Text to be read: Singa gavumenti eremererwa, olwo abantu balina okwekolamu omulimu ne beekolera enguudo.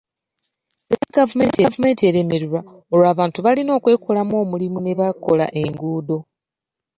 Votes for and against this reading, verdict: 0, 2, rejected